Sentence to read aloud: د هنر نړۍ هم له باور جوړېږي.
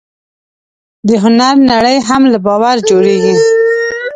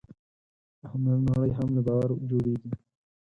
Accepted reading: second